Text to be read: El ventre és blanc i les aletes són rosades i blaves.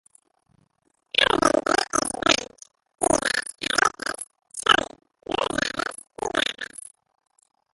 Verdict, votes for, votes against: rejected, 0, 2